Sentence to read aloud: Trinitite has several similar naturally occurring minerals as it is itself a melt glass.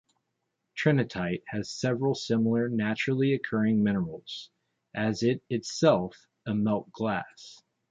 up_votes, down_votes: 1, 2